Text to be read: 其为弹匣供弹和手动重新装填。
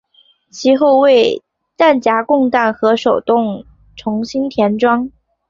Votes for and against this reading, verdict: 2, 0, accepted